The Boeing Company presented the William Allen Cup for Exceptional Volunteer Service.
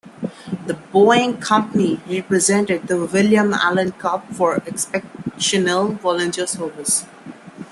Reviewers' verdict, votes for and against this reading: accepted, 2, 1